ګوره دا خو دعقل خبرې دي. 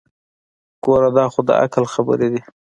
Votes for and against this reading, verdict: 2, 1, accepted